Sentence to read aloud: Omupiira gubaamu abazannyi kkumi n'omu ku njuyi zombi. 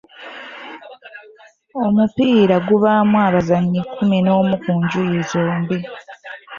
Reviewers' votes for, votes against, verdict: 1, 2, rejected